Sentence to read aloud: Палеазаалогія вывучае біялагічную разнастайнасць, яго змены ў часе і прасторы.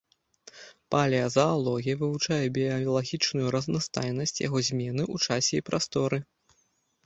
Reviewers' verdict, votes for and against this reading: rejected, 0, 2